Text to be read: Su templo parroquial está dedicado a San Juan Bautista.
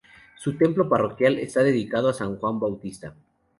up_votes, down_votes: 0, 2